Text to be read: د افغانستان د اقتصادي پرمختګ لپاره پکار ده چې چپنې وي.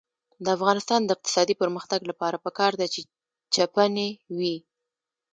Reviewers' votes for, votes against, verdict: 2, 0, accepted